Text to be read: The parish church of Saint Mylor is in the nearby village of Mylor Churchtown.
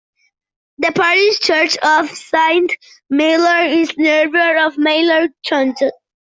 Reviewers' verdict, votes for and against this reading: rejected, 0, 2